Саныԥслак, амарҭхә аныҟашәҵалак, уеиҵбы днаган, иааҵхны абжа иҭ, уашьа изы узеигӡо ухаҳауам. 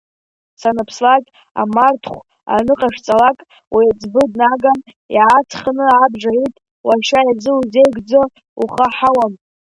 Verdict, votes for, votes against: rejected, 1, 2